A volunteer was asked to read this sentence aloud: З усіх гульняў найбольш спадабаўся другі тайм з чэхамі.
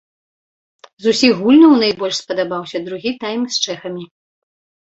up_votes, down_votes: 2, 0